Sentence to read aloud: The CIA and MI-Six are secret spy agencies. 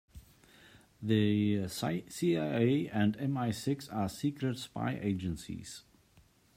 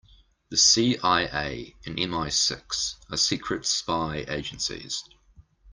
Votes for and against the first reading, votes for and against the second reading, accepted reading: 0, 2, 2, 0, second